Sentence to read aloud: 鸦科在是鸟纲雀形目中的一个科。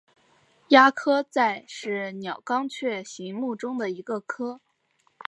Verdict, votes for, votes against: accepted, 2, 0